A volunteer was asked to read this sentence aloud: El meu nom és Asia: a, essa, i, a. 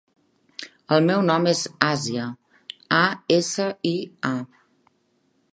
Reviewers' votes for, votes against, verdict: 3, 0, accepted